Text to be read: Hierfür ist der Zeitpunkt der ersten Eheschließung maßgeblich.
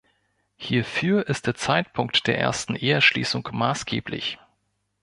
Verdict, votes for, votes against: accepted, 3, 1